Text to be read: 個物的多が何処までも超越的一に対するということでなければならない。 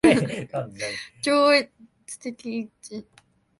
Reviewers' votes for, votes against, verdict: 0, 2, rejected